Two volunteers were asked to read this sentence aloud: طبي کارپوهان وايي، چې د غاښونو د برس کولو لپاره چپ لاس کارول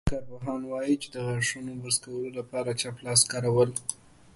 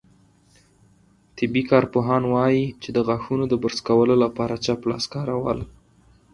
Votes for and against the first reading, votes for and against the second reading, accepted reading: 1, 2, 4, 0, second